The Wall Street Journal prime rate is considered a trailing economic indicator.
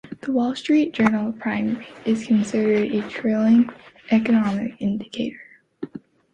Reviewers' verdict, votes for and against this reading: rejected, 0, 2